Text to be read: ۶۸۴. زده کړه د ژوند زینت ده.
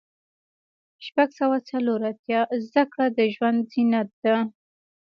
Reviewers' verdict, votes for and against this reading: rejected, 0, 2